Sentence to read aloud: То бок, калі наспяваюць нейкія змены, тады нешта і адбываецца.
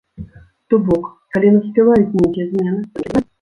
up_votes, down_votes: 0, 2